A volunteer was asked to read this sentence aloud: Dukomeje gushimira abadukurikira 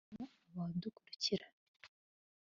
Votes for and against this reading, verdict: 1, 2, rejected